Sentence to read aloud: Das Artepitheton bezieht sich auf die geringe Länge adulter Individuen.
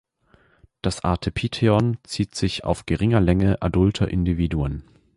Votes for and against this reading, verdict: 0, 2, rejected